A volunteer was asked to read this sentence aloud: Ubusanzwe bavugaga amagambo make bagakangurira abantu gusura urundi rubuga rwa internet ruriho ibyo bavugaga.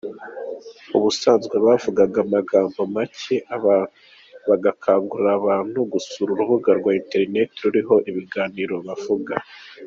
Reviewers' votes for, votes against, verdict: 0, 2, rejected